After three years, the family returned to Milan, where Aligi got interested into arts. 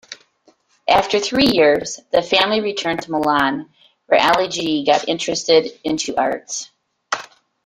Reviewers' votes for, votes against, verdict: 2, 1, accepted